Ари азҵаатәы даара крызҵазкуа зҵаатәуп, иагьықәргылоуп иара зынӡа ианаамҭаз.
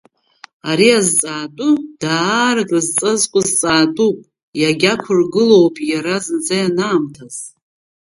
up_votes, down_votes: 1, 2